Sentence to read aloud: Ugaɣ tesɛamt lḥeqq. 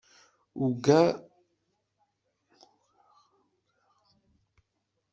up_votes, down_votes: 0, 2